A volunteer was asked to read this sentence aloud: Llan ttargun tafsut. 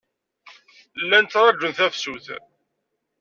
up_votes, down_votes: 1, 2